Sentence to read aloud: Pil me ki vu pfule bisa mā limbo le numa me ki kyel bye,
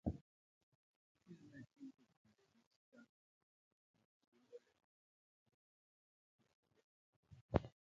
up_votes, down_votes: 0, 2